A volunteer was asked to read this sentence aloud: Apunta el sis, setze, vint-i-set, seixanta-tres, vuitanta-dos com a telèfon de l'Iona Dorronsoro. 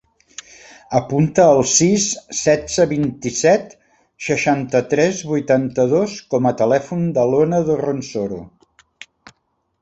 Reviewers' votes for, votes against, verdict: 0, 2, rejected